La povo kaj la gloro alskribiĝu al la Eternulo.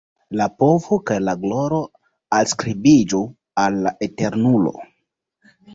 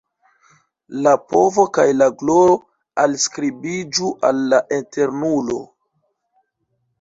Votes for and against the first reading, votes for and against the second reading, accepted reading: 2, 0, 0, 2, first